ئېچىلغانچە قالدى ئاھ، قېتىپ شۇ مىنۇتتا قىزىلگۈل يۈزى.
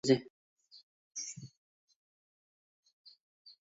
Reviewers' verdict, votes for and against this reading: rejected, 0, 2